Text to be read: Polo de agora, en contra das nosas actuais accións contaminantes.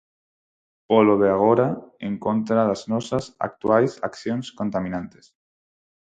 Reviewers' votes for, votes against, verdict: 4, 0, accepted